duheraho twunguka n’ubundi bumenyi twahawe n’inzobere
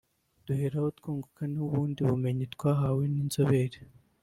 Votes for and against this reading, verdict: 1, 2, rejected